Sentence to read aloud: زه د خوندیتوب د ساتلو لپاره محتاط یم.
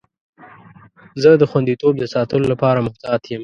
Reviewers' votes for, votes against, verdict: 2, 0, accepted